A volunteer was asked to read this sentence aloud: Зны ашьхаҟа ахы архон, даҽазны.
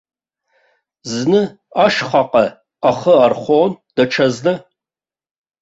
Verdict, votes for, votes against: accepted, 2, 0